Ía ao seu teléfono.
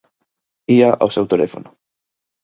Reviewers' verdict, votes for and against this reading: accepted, 4, 0